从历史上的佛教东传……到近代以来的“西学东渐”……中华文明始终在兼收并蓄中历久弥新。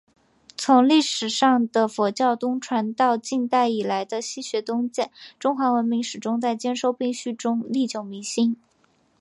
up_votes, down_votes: 2, 0